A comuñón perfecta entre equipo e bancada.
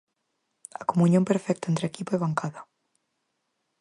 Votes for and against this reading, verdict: 4, 0, accepted